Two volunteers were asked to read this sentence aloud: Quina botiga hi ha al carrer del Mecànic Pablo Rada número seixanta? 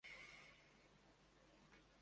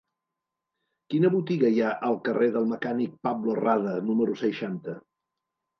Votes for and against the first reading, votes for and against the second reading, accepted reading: 0, 2, 3, 0, second